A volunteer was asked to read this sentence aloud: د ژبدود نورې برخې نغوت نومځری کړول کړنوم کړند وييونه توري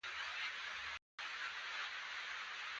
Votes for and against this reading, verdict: 0, 2, rejected